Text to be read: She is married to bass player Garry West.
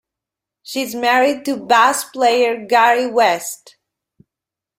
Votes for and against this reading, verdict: 0, 2, rejected